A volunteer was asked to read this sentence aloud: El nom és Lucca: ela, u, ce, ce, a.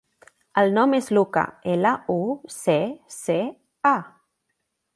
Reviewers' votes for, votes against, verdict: 2, 0, accepted